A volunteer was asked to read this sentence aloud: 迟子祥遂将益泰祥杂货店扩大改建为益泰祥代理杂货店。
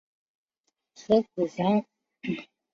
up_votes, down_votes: 0, 2